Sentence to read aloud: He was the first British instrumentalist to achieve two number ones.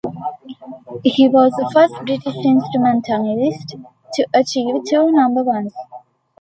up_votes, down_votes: 2, 0